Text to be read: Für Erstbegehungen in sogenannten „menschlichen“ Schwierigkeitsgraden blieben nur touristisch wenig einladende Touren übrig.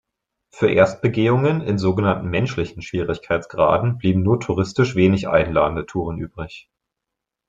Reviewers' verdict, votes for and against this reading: accepted, 2, 0